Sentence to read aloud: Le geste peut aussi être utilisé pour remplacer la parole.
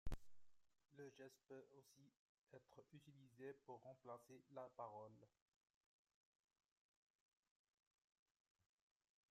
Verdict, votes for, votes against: rejected, 0, 2